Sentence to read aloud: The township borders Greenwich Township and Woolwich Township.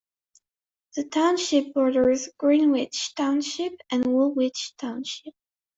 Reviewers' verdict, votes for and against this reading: accepted, 2, 1